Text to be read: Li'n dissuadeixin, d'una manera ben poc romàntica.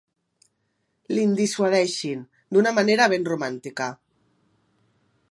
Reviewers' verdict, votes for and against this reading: rejected, 0, 2